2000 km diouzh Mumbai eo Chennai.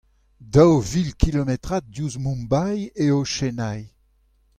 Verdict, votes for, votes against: rejected, 0, 2